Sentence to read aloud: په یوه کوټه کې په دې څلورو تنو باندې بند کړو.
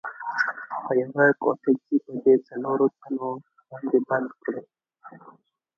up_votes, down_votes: 1, 2